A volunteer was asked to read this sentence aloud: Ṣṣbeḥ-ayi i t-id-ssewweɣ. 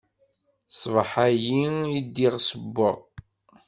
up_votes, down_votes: 0, 2